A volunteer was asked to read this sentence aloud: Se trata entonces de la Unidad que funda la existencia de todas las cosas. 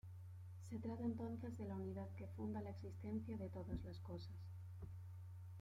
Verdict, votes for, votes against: rejected, 0, 2